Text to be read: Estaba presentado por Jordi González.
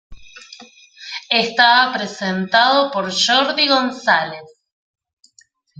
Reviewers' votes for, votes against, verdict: 2, 1, accepted